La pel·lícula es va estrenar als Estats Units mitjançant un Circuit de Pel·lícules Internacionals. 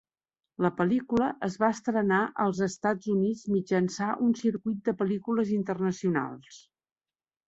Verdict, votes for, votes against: rejected, 0, 2